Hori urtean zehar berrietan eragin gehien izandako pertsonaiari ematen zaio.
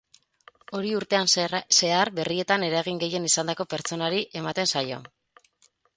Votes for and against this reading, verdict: 2, 8, rejected